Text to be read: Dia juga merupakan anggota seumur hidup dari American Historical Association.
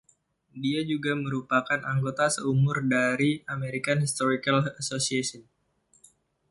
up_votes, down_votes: 1, 2